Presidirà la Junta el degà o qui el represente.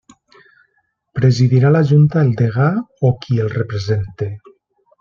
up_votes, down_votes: 3, 1